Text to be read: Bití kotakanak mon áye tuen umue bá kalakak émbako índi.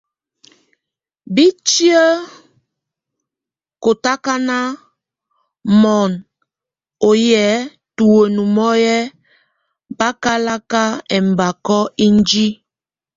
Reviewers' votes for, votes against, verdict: 0, 2, rejected